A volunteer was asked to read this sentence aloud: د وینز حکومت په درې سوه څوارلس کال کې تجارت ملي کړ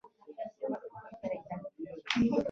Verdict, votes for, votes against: rejected, 1, 2